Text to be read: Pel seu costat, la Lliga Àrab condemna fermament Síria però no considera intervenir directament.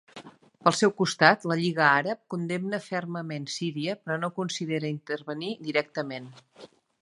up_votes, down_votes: 2, 0